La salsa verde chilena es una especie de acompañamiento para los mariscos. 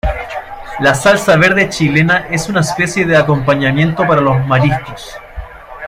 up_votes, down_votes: 2, 0